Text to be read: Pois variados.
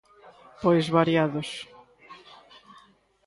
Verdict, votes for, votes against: accepted, 2, 0